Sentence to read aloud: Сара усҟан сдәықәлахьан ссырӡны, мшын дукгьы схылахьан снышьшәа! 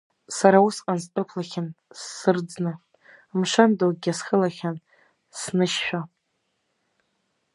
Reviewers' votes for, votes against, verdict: 1, 2, rejected